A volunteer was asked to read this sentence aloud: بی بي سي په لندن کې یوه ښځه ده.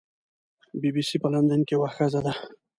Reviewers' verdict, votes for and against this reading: accepted, 2, 0